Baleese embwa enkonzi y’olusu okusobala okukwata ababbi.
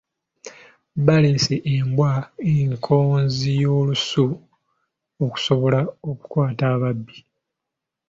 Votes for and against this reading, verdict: 0, 2, rejected